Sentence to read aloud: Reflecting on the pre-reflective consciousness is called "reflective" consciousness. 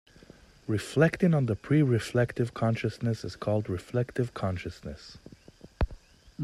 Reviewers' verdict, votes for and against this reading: accepted, 2, 0